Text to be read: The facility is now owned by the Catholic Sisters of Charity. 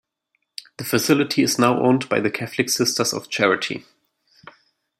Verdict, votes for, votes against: accepted, 2, 0